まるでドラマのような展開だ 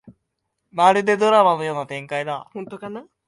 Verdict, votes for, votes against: rejected, 1, 3